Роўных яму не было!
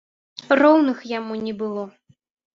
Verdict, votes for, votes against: accepted, 2, 0